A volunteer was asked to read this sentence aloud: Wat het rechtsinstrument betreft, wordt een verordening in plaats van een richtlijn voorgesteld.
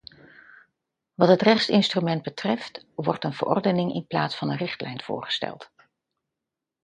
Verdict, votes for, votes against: accepted, 2, 0